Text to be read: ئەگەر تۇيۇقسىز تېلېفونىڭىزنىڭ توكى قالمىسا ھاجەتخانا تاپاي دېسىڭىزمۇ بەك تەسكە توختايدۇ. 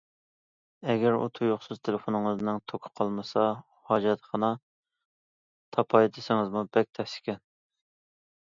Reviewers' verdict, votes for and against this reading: rejected, 0, 2